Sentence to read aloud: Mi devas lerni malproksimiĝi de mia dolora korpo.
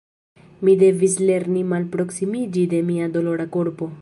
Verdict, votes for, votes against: rejected, 1, 2